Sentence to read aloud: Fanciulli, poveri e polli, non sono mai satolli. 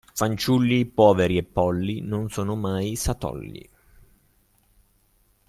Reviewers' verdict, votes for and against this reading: accepted, 2, 0